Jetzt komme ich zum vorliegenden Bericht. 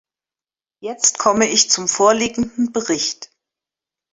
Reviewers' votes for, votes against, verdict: 2, 0, accepted